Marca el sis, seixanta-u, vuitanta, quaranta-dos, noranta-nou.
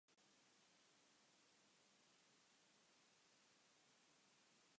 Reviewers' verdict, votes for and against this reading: rejected, 0, 2